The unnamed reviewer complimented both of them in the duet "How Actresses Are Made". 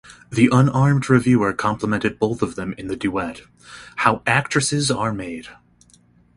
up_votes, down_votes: 0, 2